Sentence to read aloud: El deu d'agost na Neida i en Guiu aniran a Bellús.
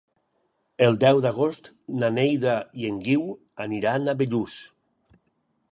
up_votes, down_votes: 6, 0